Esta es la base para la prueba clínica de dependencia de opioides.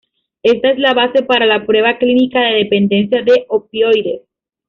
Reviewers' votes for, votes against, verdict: 2, 0, accepted